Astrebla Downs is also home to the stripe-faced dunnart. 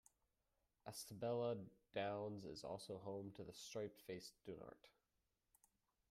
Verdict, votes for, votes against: rejected, 0, 2